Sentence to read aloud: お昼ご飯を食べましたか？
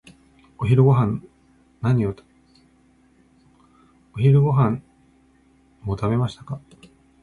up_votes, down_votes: 0, 2